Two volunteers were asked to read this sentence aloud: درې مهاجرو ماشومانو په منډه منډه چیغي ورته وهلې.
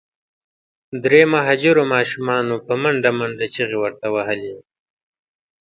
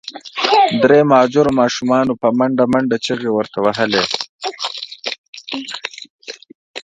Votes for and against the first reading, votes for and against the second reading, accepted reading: 2, 0, 1, 2, first